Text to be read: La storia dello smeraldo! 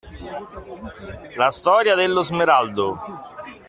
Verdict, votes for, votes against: accepted, 2, 0